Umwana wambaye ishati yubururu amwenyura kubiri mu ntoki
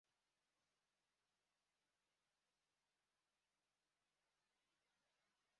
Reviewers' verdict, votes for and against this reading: rejected, 0, 2